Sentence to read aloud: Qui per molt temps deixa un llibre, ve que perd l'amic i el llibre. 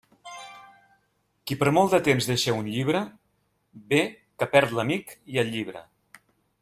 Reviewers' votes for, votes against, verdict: 1, 2, rejected